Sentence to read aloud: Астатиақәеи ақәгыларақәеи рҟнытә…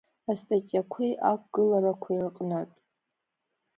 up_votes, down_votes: 2, 0